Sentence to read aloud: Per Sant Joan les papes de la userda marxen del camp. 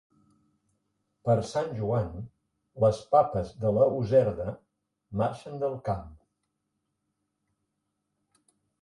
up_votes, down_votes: 2, 0